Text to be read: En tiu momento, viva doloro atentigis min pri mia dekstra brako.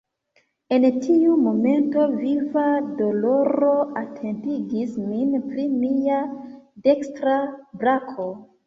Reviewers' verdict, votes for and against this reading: accepted, 2, 1